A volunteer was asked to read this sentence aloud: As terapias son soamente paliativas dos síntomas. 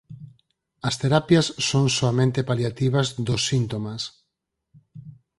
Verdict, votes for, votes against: accepted, 4, 0